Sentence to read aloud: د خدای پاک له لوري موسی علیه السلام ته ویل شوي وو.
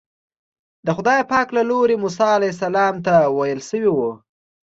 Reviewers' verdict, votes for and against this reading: accepted, 2, 0